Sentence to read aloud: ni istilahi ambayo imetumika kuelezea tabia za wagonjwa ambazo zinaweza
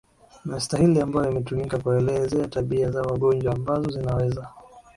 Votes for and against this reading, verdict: 0, 2, rejected